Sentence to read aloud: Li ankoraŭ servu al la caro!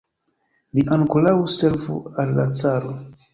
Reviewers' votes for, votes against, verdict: 1, 2, rejected